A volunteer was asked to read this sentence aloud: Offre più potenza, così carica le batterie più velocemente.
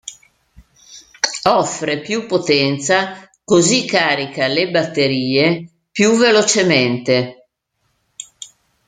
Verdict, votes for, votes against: accepted, 2, 0